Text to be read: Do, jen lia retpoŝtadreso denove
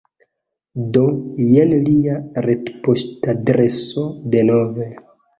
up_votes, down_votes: 0, 2